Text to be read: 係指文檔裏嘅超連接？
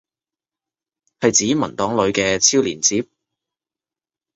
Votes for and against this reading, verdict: 2, 0, accepted